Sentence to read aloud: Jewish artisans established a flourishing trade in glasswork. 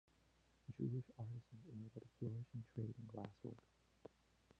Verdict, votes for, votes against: rejected, 0, 2